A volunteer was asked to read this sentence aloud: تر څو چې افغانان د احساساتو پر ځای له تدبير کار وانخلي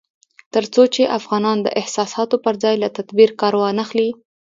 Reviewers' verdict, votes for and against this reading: accepted, 2, 0